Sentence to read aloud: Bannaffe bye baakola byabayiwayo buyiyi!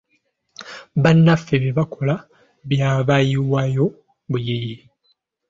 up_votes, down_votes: 2, 1